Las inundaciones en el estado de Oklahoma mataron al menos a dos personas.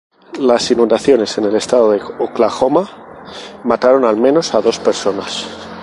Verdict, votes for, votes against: rejected, 0, 2